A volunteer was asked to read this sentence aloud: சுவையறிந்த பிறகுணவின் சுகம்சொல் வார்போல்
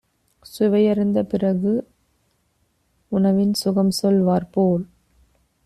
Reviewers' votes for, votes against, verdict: 0, 2, rejected